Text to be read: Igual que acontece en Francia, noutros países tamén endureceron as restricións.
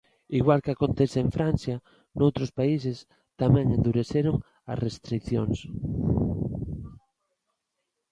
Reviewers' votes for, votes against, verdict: 2, 0, accepted